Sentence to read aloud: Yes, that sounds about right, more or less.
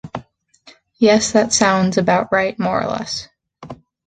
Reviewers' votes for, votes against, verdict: 2, 0, accepted